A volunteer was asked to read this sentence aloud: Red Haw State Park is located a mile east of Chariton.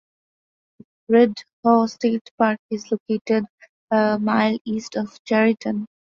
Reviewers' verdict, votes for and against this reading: accepted, 2, 0